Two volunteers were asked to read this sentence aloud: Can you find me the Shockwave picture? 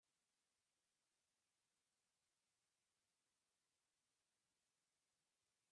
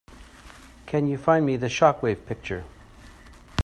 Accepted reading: second